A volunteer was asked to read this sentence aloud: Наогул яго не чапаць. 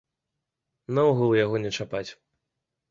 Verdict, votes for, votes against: accepted, 2, 0